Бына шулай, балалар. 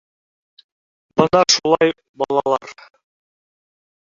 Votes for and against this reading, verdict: 0, 2, rejected